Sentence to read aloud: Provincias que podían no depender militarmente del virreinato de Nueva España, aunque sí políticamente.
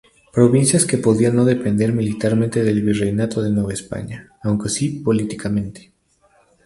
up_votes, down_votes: 0, 4